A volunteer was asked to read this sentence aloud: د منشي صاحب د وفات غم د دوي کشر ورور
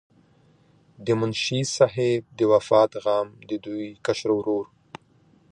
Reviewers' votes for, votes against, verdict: 2, 0, accepted